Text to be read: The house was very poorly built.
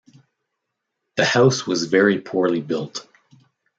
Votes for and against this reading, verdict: 2, 0, accepted